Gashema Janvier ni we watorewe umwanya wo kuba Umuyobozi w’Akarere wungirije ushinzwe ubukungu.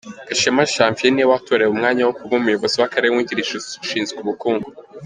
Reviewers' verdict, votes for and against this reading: accepted, 3, 0